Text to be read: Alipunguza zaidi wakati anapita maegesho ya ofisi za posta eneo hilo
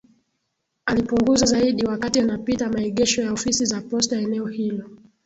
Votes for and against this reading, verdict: 1, 2, rejected